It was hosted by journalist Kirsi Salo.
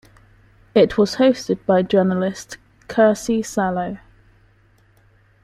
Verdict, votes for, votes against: rejected, 1, 2